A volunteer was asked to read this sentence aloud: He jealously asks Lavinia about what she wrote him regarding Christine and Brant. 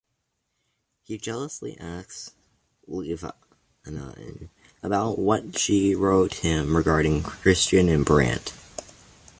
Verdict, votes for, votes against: rejected, 1, 2